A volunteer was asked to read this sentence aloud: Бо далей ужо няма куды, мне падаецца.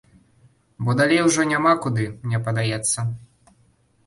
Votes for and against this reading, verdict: 3, 0, accepted